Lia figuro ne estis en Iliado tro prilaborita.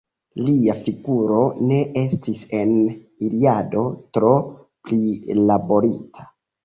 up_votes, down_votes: 2, 0